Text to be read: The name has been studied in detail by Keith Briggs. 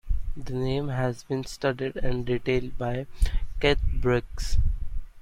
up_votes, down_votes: 2, 1